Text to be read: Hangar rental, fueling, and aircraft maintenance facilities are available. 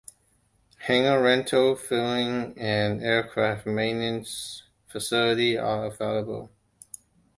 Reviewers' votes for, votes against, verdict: 2, 0, accepted